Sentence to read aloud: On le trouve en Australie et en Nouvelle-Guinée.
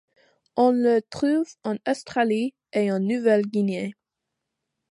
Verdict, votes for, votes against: accepted, 2, 0